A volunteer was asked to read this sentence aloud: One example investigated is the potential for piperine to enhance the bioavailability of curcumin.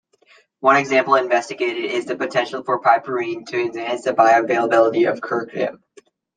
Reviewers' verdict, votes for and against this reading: rejected, 0, 2